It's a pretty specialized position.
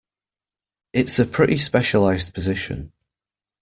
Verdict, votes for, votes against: accepted, 2, 0